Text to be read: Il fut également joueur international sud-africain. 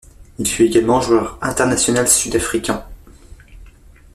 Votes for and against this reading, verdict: 0, 2, rejected